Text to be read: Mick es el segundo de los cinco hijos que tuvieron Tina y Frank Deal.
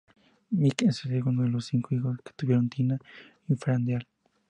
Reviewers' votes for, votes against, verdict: 2, 0, accepted